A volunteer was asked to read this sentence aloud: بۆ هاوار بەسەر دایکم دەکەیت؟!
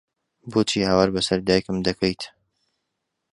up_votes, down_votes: 0, 2